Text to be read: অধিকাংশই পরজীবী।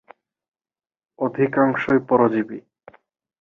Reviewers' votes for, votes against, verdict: 10, 4, accepted